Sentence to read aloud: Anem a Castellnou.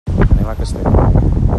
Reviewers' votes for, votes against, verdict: 0, 2, rejected